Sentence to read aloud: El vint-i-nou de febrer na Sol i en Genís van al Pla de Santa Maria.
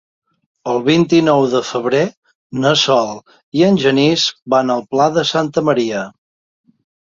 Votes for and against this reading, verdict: 3, 0, accepted